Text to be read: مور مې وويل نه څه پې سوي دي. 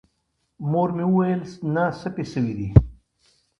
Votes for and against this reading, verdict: 1, 2, rejected